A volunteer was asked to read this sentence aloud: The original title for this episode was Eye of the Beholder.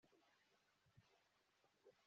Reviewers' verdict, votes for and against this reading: rejected, 0, 2